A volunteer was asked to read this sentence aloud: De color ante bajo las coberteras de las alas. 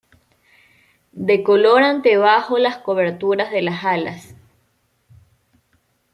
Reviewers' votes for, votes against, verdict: 1, 2, rejected